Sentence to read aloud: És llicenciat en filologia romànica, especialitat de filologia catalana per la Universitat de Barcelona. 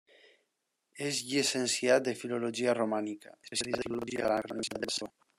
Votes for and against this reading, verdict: 0, 2, rejected